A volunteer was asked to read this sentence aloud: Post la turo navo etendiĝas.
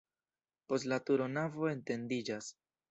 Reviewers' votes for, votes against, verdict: 1, 2, rejected